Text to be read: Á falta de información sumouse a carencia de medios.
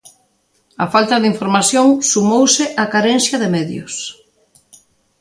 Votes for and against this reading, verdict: 2, 0, accepted